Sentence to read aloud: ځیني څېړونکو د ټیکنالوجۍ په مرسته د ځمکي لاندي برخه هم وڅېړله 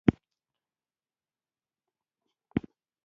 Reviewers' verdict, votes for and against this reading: rejected, 1, 2